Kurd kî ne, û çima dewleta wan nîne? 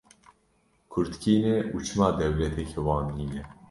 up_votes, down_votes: 0, 2